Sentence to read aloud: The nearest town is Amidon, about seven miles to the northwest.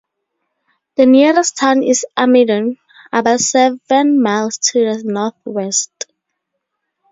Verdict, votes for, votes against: rejected, 2, 2